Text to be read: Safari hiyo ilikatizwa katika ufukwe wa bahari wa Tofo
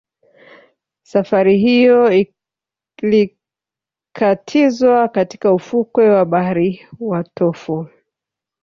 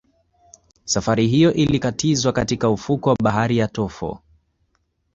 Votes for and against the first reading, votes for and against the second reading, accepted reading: 1, 2, 2, 0, second